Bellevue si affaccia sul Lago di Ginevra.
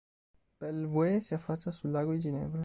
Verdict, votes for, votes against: rejected, 2, 3